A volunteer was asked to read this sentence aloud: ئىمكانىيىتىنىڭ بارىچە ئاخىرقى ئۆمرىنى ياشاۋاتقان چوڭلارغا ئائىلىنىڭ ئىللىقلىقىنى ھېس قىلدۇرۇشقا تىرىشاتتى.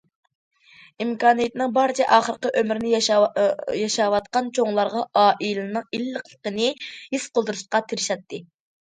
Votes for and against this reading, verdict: 0, 2, rejected